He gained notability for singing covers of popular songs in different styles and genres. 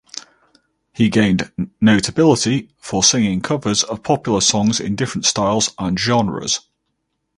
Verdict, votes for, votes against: accepted, 4, 0